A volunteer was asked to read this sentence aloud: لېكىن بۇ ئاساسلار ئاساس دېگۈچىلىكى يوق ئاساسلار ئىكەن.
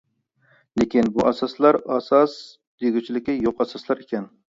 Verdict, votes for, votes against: accepted, 2, 0